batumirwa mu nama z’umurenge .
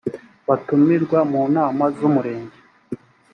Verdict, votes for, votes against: accepted, 2, 0